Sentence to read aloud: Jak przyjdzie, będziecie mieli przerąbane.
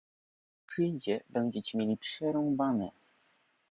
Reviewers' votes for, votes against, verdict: 1, 2, rejected